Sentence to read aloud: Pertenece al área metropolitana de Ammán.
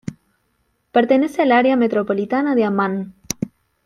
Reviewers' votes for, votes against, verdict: 2, 1, accepted